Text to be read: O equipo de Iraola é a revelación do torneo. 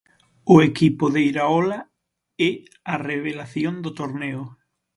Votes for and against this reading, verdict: 6, 3, accepted